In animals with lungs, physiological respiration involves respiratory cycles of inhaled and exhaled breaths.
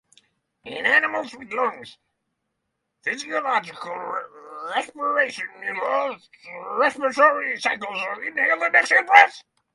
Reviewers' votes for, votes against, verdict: 3, 0, accepted